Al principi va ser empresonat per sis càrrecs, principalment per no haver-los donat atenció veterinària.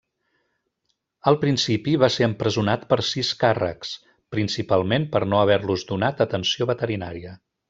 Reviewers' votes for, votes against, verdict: 3, 0, accepted